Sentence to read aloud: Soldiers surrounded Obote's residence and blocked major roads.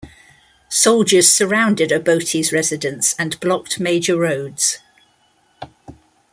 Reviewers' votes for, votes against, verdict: 2, 0, accepted